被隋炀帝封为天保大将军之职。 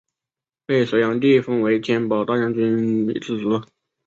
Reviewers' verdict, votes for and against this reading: rejected, 1, 2